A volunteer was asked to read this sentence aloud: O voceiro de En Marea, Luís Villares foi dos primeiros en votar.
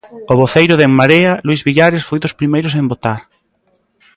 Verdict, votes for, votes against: rejected, 1, 2